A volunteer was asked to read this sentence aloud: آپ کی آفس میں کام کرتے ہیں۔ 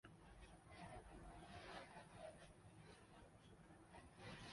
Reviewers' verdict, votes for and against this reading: rejected, 0, 2